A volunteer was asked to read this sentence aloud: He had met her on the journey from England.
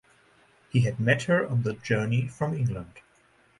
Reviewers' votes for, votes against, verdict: 4, 0, accepted